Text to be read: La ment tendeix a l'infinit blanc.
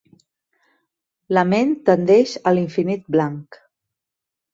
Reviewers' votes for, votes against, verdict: 3, 0, accepted